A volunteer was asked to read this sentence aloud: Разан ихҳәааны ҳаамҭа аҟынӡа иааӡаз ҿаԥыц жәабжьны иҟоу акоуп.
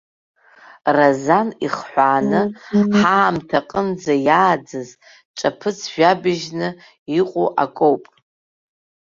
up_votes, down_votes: 1, 2